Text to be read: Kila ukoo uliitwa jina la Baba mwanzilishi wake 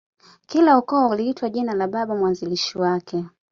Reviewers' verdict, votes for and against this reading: accepted, 2, 0